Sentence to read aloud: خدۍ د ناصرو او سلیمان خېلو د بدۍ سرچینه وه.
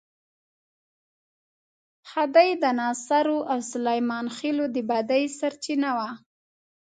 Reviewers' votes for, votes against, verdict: 3, 0, accepted